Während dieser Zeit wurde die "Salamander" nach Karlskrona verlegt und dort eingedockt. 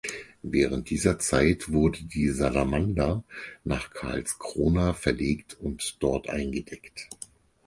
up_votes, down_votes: 0, 4